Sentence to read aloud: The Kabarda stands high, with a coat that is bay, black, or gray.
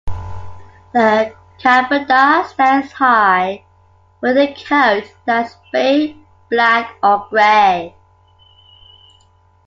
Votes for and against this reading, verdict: 2, 0, accepted